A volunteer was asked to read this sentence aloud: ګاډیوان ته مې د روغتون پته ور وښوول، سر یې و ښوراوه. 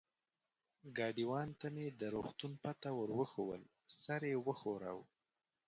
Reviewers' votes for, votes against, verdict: 2, 4, rejected